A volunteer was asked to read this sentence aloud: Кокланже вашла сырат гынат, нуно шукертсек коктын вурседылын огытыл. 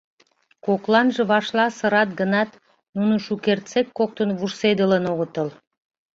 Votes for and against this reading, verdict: 2, 0, accepted